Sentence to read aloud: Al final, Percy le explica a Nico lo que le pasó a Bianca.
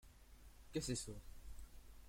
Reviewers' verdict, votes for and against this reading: rejected, 0, 2